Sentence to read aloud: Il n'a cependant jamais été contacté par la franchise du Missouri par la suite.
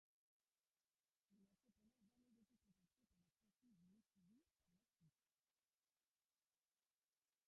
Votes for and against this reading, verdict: 0, 3, rejected